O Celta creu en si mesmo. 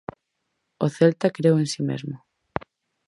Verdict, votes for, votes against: accepted, 4, 0